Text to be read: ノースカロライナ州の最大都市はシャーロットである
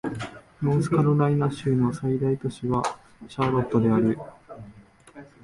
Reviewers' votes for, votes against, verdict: 2, 0, accepted